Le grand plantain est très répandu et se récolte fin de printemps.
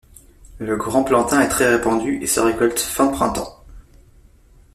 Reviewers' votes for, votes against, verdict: 1, 2, rejected